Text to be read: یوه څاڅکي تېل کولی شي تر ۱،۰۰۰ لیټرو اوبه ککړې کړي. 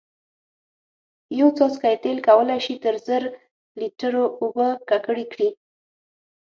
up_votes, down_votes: 0, 2